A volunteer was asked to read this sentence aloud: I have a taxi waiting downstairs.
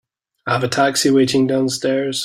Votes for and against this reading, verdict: 2, 0, accepted